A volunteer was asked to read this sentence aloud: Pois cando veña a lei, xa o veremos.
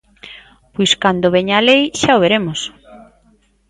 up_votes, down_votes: 2, 0